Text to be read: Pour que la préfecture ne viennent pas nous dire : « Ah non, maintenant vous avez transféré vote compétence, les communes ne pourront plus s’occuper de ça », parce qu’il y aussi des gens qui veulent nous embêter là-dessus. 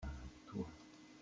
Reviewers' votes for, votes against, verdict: 0, 2, rejected